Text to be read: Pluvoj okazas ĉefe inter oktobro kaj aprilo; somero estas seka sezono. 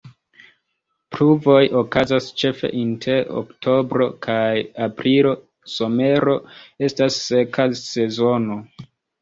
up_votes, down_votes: 1, 2